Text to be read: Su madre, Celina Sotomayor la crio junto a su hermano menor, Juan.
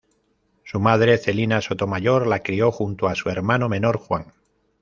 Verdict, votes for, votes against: accepted, 2, 0